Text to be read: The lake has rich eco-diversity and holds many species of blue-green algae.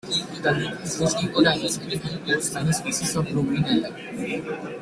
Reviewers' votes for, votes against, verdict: 1, 2, rejected